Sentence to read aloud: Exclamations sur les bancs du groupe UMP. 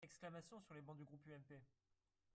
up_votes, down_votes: 1, 2